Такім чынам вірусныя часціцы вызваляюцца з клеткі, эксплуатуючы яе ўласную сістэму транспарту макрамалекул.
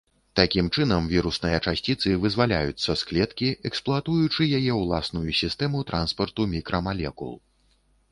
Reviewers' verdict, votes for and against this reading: rejected, 1, 2